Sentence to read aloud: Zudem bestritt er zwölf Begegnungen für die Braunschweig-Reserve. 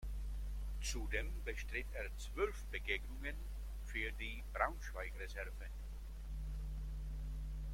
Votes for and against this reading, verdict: 1, 2, rejected